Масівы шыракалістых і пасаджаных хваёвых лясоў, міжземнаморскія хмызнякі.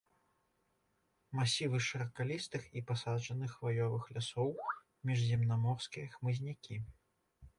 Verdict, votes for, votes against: rejected, 1, 2